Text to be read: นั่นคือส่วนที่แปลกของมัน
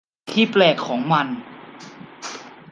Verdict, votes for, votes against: rejected, 0, 2